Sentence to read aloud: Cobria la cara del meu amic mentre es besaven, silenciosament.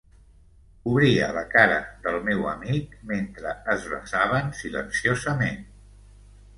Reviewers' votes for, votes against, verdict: 0, 2, rejected